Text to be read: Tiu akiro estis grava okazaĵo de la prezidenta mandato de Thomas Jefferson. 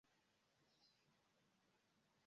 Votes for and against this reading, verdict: 0, 2, rejected